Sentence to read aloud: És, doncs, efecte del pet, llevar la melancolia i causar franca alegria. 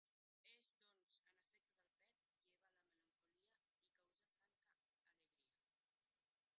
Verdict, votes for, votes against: rejected, 0, 3